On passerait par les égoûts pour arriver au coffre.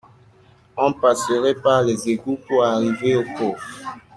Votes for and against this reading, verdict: 2, 0, accepted